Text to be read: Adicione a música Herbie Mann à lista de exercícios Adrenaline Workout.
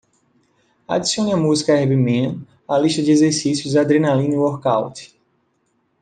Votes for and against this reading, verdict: 2, 0, accepted